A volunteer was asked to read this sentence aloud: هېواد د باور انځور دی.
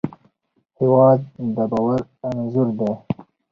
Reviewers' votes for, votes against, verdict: 2, 0, accepted